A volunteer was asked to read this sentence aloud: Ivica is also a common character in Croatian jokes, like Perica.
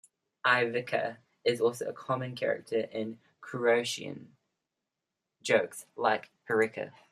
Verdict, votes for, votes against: rejected, 1, 2